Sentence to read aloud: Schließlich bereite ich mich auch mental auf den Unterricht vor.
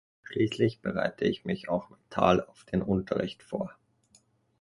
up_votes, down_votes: 2, 0